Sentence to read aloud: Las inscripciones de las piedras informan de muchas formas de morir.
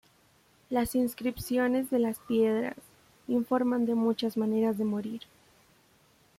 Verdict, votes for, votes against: rejected, 0, 2